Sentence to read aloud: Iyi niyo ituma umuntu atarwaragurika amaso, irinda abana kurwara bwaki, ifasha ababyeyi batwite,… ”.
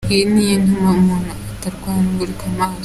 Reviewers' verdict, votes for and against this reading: rejected, 0, 2